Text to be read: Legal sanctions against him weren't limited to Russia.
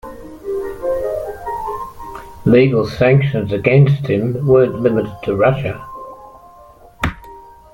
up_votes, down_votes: 2, 1